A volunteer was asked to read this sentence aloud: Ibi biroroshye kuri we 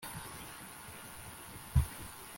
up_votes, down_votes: 1, 2